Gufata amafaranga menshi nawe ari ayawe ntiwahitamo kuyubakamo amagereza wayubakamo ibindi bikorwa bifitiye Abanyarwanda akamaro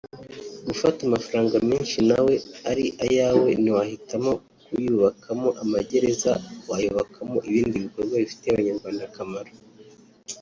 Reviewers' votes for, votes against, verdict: 1, 2, rejected